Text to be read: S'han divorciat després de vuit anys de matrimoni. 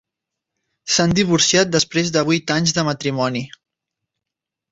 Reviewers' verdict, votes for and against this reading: accepted, 3, 0